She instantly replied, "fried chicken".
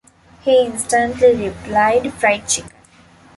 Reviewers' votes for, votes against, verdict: 0, 2, rejected